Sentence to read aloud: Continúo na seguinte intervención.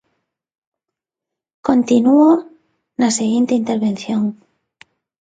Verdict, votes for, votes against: accepted, 2, 0